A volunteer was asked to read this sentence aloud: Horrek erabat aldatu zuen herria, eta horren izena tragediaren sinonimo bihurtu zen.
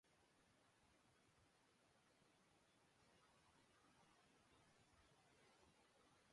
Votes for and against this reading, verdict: 0, 2, rejected